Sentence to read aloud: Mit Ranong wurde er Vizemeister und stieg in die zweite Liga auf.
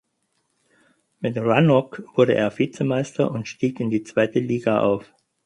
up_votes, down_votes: 2, 4